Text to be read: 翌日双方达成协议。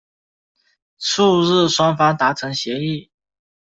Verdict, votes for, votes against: rejected, 1, 2